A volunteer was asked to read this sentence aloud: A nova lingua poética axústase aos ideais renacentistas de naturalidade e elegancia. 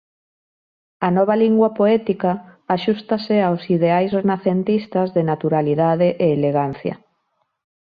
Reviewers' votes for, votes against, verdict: 2, 0, accepted